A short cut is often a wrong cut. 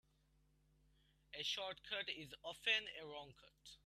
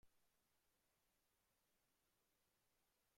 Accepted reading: first